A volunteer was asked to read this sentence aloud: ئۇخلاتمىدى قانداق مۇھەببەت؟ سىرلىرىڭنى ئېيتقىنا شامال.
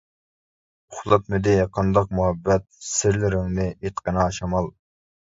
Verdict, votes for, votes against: accepted, 2, 0